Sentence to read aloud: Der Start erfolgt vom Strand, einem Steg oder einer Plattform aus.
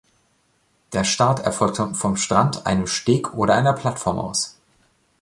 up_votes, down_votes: 1, 2